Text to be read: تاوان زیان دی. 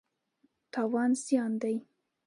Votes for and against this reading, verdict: 2, 0, accepted